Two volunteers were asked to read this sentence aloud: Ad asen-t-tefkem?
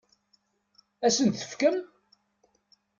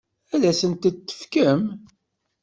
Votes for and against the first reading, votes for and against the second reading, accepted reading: 2, 0, 1, 2, first